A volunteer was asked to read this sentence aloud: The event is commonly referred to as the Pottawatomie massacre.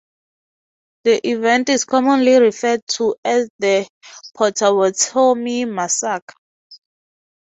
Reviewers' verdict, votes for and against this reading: rejected, 0, 2